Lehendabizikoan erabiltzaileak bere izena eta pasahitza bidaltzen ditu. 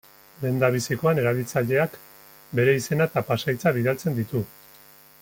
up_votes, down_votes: 2, 0